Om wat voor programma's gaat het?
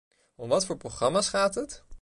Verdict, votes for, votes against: accepted, 2, 0